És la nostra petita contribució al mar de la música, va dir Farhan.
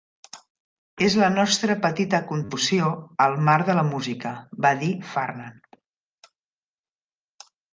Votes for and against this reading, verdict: 0, 2, rejected